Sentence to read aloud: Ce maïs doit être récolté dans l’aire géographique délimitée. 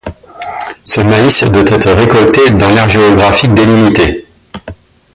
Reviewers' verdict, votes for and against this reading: accepted, 2, 0